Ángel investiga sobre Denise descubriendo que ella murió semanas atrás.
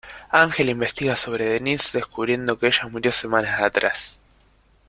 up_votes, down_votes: 2, 0